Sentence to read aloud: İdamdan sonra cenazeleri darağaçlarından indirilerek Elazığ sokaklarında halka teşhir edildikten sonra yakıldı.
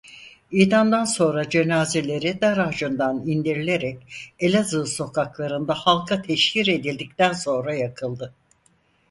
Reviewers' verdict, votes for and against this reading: rejected, 2, 4